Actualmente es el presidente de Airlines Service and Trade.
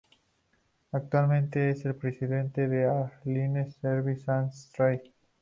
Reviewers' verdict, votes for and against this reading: accepted, 2, 0